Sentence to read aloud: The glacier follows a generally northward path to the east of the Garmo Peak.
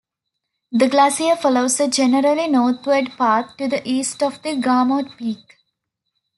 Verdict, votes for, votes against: accepted, 2, 0